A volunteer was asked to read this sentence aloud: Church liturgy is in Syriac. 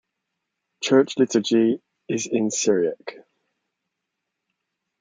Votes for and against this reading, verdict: 3, 0, accepted